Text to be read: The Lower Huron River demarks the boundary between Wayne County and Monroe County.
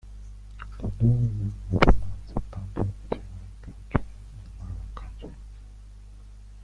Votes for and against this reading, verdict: 0, 2, rejected